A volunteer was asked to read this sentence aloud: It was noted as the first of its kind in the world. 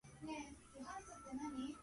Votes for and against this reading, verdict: 0, 4, rejected